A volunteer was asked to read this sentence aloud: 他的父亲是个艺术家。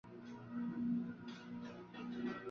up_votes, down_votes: 0, 5